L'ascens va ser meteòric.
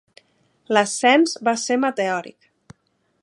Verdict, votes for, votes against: accepted, 2, 0